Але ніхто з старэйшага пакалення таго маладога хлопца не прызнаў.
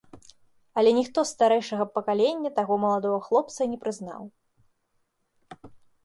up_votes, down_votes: 3, 0